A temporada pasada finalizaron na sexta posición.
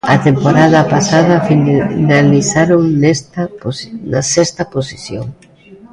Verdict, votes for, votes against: rejected, 0, 2